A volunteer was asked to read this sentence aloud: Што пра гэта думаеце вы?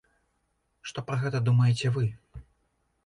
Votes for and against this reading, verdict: 2, 0, accepted